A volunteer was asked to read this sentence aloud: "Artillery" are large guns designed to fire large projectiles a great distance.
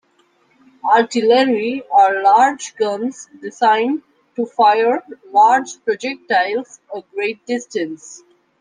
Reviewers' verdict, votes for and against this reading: accepted, 2, 1